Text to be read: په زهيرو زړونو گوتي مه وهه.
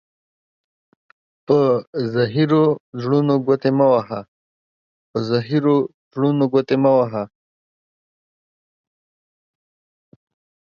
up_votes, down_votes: 1, 2